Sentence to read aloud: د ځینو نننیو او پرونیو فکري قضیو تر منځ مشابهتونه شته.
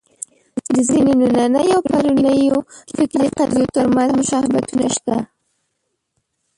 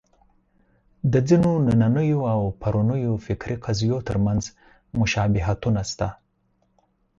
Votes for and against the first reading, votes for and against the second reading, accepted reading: 1, 2, 4, 0, second